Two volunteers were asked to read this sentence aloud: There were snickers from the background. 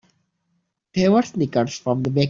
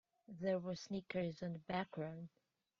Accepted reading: second